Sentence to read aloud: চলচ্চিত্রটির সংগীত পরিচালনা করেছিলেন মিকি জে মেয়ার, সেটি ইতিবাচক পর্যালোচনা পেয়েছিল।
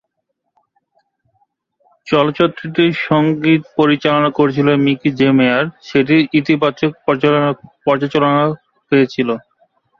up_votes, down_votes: 0, 3